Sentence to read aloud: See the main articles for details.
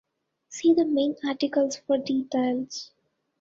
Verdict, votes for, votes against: accepted, 2, 1